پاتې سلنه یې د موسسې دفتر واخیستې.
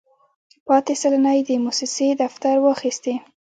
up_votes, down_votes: 1, 2